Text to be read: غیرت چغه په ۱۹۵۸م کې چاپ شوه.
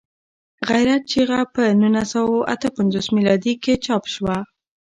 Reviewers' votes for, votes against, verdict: 0, 2, rejected